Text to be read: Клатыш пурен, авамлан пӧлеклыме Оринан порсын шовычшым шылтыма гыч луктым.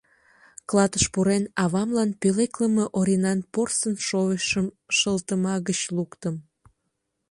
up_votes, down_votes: 2, 0